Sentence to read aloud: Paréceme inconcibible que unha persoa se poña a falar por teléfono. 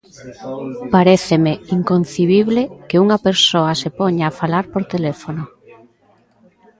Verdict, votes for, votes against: rejected, 1, 2